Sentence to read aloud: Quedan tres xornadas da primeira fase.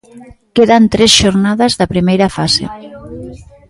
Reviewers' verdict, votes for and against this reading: accepted, 2, 0